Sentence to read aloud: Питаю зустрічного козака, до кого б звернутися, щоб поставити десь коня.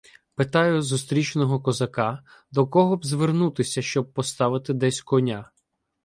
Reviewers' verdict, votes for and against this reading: accepted, 2, 0